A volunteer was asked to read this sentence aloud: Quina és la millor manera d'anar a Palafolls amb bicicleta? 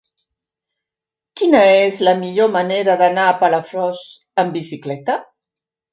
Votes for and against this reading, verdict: 0, 2, rejected